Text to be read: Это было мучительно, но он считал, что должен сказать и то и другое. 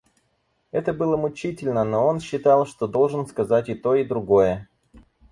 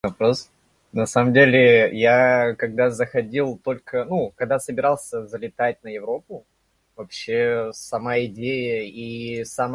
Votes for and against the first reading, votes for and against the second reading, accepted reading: 4, 0, 0, 2, first